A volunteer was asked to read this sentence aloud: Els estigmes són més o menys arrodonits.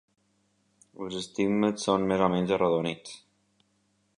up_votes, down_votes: 2, 0